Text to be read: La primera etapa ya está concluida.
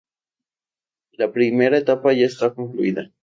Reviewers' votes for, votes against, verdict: 4, 0, accepted